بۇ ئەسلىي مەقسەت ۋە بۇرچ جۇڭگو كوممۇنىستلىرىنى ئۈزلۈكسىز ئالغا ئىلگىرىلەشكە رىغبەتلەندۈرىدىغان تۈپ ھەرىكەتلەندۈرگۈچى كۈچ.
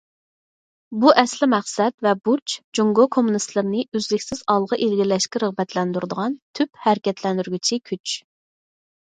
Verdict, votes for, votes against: accepted, 4, 0